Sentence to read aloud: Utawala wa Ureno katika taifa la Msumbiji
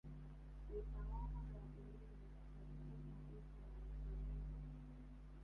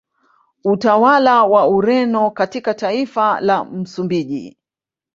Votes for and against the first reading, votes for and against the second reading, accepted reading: 1, 2, 2, 0, second